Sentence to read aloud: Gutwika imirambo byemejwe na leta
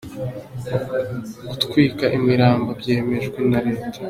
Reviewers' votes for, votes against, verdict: 2, 0, accepted